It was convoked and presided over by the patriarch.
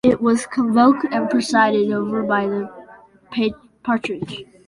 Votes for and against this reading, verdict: 1, 2, rejected